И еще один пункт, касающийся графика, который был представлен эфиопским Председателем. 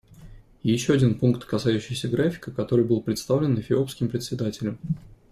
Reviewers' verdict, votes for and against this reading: accepted, 2, 0